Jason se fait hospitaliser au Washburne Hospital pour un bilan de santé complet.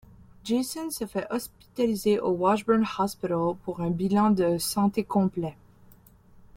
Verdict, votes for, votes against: rejected, 1, 2